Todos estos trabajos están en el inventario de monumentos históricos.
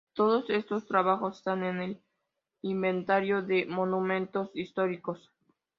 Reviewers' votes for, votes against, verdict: 2, 0, accepted